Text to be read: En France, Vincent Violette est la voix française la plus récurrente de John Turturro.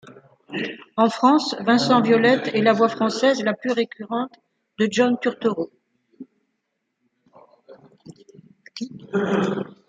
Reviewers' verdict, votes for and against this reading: accepted, 2, 0